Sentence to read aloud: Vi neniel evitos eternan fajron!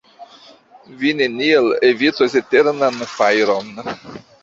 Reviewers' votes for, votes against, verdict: 1, 2, rejected